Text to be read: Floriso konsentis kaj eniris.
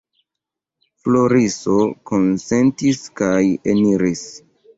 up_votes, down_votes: 2, 1